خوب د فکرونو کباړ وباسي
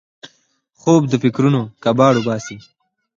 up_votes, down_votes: 4, 2